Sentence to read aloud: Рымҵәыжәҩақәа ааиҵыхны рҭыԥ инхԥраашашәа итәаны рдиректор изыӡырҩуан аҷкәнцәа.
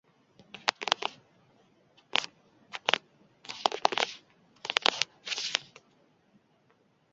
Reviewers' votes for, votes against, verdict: 0, 2, rejected